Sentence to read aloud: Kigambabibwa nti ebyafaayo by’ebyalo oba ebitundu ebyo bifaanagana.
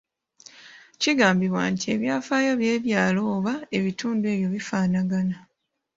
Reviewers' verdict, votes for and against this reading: accepted, 2, 0